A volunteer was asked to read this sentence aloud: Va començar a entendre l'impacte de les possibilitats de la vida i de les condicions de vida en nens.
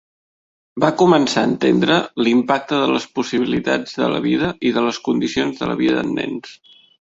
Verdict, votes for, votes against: rejected, 0, 2